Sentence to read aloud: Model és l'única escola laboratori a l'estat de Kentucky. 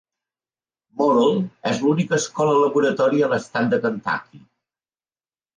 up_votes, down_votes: 2, 0